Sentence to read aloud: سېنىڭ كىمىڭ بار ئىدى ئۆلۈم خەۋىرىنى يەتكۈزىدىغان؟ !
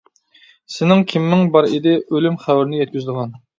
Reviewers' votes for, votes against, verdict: 2, 0, accepted